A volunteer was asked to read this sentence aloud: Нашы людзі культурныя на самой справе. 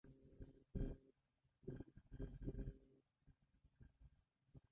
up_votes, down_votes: 1, 2